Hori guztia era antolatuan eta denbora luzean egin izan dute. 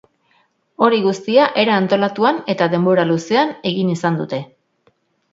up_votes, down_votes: 3, 0